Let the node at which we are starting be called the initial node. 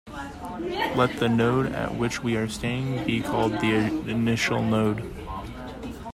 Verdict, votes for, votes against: rejected, 1, 2